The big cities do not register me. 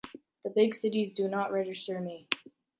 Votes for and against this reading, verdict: 2, 0, accepted